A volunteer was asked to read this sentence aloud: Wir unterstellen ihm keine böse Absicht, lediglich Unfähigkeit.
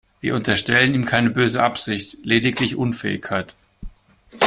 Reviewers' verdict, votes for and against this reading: accepted, 2, 1